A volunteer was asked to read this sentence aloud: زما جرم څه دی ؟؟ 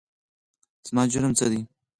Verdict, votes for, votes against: accepted, 4, 0